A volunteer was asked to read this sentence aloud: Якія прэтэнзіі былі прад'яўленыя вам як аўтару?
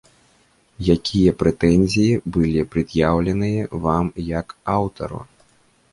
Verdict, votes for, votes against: accepted, 2, 0